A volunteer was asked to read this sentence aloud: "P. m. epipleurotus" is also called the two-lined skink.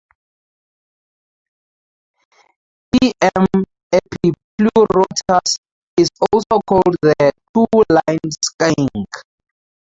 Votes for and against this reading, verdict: 0, 2, rejected